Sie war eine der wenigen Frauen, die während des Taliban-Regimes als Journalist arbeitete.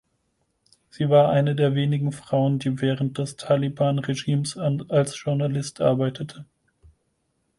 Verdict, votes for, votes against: rejected, 2, 4